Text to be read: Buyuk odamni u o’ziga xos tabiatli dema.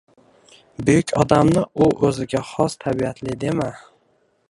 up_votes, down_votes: 1, 2